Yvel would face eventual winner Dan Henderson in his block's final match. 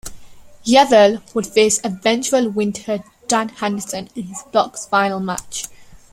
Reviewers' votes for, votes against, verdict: 2, 0, accepted